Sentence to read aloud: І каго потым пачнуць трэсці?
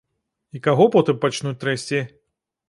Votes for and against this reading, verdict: 2, 0, accepted